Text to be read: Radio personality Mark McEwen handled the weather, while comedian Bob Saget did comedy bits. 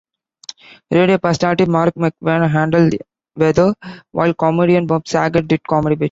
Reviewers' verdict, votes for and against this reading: rejected, 0, 3